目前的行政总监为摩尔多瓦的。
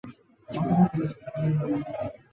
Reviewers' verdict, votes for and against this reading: rejected, 0, 5